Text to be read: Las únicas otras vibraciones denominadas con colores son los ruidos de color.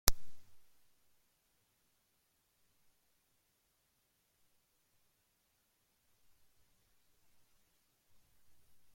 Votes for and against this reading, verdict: 0, 2, rejected